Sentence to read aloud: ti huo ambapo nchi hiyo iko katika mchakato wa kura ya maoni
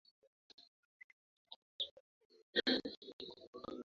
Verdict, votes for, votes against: rejected, 1, 2